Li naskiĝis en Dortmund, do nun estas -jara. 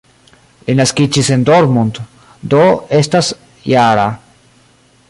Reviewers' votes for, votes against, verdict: 0, 2, rejected